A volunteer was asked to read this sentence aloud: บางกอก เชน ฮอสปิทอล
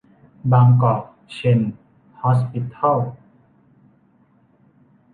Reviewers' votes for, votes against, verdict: 2, 0, accepted